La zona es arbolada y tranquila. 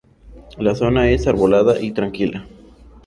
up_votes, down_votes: 2, 0